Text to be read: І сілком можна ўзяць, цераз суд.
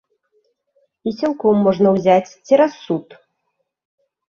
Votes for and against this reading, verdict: 2, 0, accepted